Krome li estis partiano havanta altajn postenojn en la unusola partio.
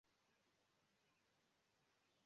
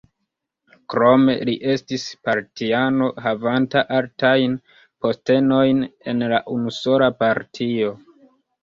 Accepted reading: second